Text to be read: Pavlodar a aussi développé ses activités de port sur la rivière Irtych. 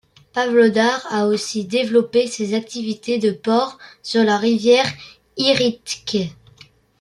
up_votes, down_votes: 0, 2